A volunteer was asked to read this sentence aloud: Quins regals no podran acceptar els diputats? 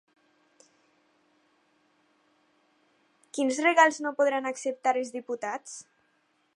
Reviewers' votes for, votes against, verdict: 4, 0, accepted